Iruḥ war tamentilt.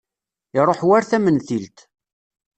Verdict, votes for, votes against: accepted, 2, 0